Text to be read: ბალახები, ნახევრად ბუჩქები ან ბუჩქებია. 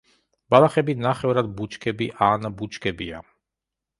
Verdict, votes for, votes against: accepted, 2, 0